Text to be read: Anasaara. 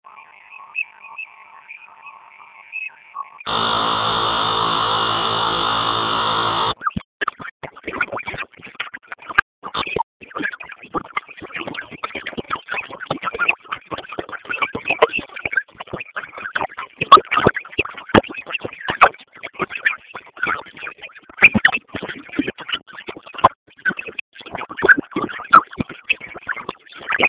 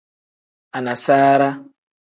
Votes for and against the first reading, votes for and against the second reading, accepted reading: 0, 2, 2, 0, second